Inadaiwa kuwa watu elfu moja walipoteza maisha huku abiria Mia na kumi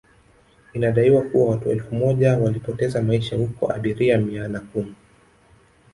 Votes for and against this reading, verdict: 2, 3, rejected